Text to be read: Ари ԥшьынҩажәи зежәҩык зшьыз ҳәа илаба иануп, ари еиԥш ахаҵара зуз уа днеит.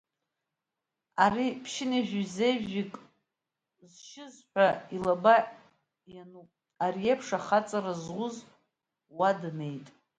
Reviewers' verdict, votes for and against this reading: rejected, 1, 3